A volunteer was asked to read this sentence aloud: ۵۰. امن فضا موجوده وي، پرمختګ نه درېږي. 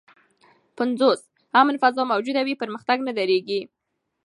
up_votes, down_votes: 0, 2